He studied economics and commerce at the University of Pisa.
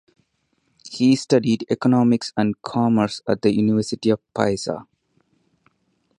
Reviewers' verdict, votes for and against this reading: rejected, 2, 2